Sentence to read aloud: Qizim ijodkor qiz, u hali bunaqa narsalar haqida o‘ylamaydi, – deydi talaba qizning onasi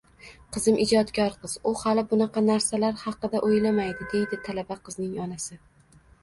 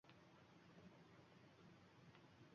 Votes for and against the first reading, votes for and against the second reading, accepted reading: 2, 1, 0, 2, first